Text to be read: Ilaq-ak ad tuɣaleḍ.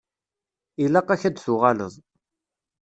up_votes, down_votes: 1, 2